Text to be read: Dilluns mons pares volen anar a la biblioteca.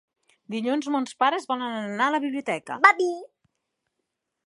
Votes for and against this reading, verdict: 1, 2, rejected